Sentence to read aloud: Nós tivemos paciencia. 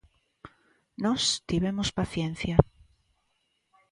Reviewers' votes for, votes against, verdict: 2, 0, accepted